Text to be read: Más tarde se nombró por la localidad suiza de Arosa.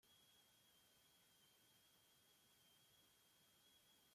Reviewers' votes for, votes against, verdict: 0, 2, rejected